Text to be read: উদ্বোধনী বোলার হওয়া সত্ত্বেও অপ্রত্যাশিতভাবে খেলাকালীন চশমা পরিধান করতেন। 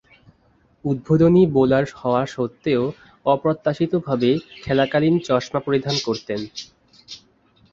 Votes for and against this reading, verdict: 4, 2, accepted